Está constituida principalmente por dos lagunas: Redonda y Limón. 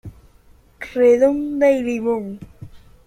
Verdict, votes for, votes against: rejected, 0, 2